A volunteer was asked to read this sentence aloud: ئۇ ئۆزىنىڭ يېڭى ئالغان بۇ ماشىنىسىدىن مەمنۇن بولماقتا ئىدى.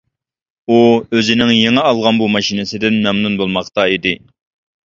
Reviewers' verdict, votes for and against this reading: accepted, 2, 0